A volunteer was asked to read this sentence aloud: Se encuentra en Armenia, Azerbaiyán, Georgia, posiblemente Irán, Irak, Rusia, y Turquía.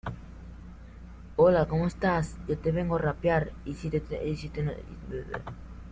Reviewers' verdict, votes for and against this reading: rejected, 0, 2